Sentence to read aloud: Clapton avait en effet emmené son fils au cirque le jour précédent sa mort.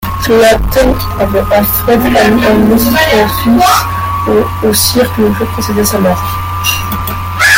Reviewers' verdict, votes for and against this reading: rejected, 0, 2